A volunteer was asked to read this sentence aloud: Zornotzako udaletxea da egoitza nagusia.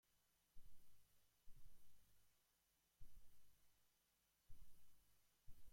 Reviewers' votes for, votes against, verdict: 0, 2, rejected